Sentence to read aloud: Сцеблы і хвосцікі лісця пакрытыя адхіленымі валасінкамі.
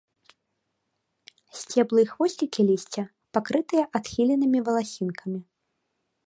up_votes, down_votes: 2, 0